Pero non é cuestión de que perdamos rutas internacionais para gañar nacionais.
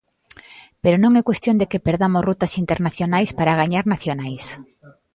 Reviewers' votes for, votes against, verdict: 1, 2, rejected